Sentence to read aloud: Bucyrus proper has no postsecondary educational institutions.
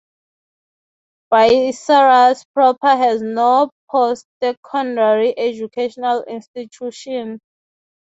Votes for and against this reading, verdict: 0, 3, rejected